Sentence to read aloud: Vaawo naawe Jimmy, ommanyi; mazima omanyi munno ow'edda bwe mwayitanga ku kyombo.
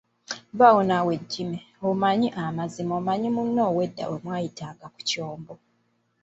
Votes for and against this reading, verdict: 1, 2, rejected